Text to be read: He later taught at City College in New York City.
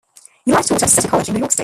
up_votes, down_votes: 0, 2